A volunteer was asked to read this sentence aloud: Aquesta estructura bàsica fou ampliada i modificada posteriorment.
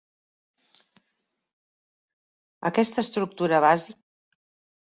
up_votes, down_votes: 1, 2